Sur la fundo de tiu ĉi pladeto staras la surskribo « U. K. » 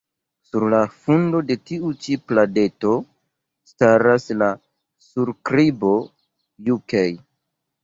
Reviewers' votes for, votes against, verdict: 0, 3, rejected